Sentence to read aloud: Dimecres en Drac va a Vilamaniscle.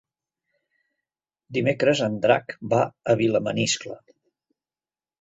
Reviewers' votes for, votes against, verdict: 3, 0, accepted